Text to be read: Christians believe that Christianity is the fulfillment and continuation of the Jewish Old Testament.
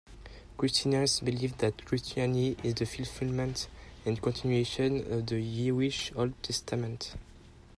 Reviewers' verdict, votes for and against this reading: rejected, 1, 2